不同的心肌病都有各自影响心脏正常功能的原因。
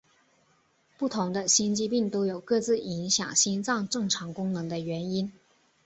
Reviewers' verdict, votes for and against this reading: accepted, 4, 1